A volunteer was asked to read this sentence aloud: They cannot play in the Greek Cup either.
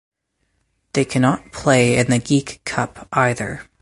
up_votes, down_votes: 2, 2